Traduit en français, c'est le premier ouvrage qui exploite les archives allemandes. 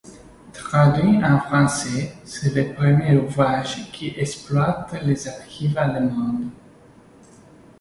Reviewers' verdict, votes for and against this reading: rejected, 1, 2